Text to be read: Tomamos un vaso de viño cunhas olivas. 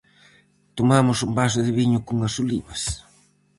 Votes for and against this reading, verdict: 4, 0, accepted